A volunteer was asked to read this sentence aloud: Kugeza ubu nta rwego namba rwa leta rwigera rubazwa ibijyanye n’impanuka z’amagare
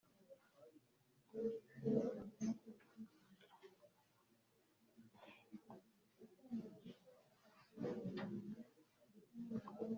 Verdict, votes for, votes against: rejected, 0, 2